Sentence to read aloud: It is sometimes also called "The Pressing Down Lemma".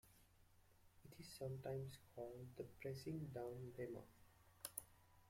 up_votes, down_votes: 0, 2